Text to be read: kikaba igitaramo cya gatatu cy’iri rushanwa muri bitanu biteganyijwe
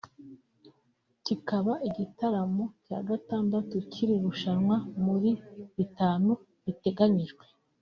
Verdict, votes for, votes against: rejected, 0, 2